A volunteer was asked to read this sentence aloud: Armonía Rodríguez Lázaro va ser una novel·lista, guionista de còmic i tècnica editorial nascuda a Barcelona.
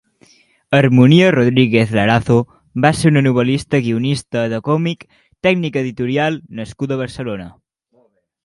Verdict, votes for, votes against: rejected, 0, 2